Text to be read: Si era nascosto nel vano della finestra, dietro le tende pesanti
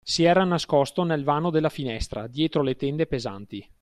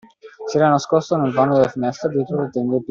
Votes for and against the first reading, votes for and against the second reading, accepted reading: 2, 0, 0, 2, first